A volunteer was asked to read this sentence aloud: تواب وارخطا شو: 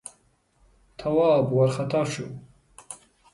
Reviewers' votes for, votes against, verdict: 2, 0, accepted